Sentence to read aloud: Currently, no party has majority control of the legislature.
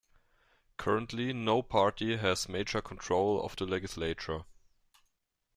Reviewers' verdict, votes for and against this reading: rejected, 1, 2